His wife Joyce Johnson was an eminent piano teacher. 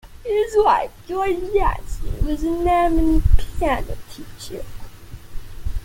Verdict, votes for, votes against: rejected, 1, 2